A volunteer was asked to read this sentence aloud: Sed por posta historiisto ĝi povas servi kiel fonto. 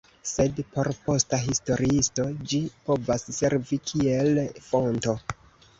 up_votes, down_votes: 2, 0